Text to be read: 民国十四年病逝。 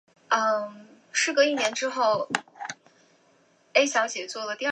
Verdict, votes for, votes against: accepted, 2, 1